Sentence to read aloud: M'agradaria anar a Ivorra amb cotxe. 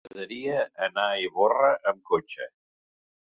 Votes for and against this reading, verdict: 1, 2, rejected